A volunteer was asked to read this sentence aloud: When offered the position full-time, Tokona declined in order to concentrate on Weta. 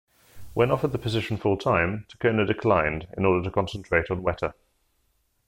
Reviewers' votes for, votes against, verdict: 2, 0, accepted